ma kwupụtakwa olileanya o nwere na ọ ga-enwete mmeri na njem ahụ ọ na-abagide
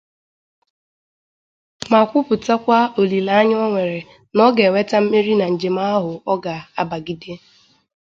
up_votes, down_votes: 2, 0